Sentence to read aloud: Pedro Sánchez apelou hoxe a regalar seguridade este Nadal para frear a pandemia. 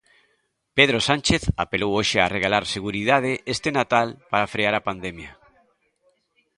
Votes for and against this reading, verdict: 1, 2, rejected